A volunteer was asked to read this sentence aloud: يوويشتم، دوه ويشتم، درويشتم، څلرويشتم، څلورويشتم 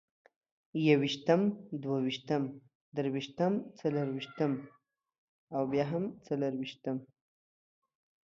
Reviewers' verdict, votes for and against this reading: rejected, 1, 2